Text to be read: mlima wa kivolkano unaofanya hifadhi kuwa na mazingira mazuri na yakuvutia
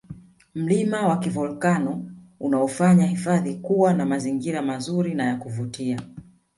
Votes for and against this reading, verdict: 1, 2, rejected